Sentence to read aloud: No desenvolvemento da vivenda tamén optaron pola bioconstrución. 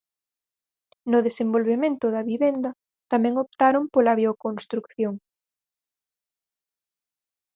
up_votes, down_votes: 2, 4